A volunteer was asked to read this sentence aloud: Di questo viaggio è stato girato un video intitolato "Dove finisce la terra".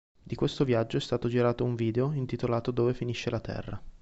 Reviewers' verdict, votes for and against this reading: accepted, 4, 0